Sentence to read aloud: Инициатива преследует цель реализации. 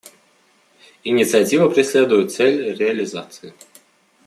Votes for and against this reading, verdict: 2, 0, accepted